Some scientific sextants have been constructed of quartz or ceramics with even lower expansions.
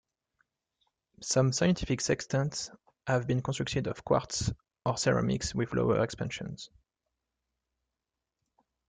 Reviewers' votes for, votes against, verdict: 1, 2, rejected